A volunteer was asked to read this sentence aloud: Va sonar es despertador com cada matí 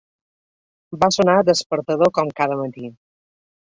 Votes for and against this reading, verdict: 1, 2, rejected